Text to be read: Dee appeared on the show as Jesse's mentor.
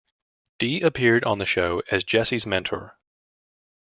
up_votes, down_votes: 2, 0